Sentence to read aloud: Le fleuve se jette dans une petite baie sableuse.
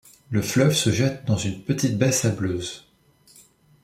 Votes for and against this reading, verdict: 2, 0, accepted